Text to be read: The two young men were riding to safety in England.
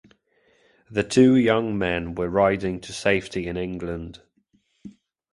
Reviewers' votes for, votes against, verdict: 2, 0, accepted